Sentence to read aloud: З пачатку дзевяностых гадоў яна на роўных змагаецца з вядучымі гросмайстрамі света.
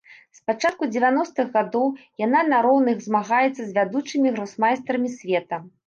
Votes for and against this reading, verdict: 2, 0, accepted